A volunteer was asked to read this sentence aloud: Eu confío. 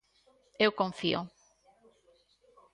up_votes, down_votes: 2, 0